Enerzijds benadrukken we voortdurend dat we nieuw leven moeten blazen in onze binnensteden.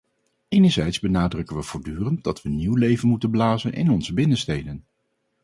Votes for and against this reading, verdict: 4, 0, accepted